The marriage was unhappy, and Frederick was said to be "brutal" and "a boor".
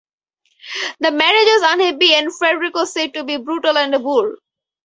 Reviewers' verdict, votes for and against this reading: accepted, 4, 0